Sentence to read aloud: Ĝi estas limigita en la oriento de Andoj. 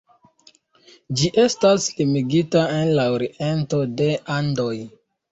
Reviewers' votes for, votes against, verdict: 1, 2, rejected